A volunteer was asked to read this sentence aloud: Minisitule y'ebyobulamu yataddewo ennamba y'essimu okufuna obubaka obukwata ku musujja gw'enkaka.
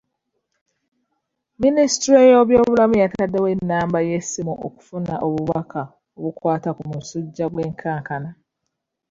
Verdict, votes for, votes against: rejected, 1, 2